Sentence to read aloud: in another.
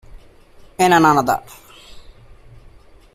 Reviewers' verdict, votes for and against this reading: rejected, 1, 2